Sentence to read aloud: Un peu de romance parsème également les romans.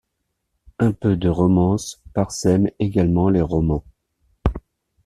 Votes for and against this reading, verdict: 1, 2, rejected